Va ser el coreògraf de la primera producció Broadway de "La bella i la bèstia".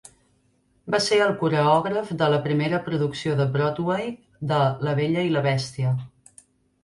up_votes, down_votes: 0, 2